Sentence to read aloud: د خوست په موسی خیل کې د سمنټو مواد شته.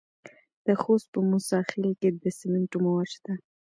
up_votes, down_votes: 0, 2